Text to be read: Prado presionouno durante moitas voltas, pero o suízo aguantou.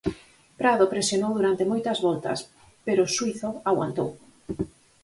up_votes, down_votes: 2, 2